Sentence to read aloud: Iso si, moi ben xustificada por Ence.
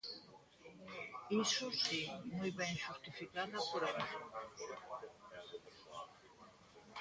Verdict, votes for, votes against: rejected, 0, 2